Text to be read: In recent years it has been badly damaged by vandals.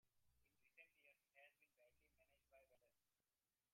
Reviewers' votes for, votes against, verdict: 0, 2, rejected